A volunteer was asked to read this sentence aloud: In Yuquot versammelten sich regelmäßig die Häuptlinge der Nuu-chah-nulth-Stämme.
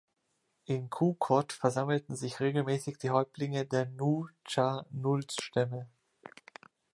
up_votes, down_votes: 1, 2